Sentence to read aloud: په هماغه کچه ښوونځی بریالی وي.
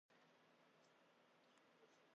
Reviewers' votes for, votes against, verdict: 0, 2, rejected